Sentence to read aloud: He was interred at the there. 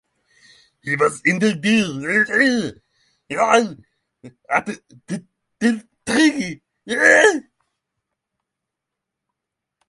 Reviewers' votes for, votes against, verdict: 0, 6, rejected